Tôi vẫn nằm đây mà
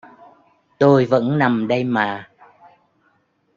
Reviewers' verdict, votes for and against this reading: accepted, 2, 0